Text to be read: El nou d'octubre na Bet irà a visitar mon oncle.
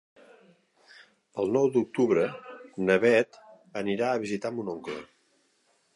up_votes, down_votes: 0, 2